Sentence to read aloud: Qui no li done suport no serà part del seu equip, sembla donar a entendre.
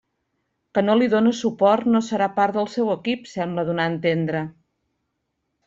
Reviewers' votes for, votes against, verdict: 0, 2, rejected